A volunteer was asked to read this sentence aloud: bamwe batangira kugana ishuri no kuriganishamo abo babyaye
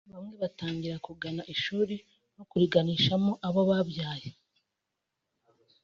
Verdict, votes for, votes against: accepted, 2, 0